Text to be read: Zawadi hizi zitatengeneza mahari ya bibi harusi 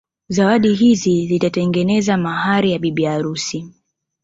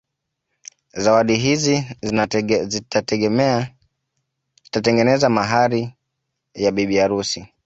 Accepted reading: first